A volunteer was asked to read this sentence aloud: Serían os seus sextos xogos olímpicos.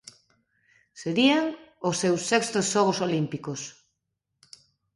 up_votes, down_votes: 2, 0